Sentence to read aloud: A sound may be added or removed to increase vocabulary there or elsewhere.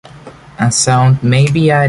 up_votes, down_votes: 0, 2